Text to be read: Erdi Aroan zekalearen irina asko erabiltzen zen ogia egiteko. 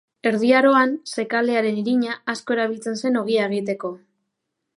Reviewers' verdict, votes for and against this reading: accepted, 2, 0